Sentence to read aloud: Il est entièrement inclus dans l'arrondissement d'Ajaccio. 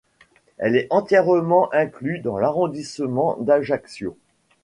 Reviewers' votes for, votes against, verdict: 0, 2, rejected